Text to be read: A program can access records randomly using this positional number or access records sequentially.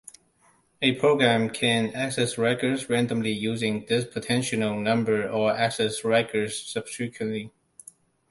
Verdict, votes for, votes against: rejected, 0, 2